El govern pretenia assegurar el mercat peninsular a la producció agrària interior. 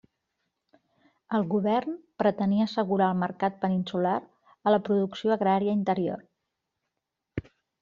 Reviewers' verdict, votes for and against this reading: accepted, 3, 0